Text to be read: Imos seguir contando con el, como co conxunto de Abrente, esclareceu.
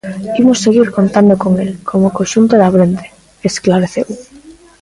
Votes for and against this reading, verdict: 1, 2, rejected